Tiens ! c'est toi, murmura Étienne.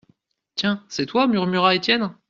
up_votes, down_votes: 1, 2